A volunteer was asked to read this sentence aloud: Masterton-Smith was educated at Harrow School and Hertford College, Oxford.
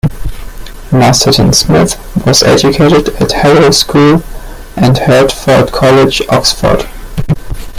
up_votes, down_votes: 0, 2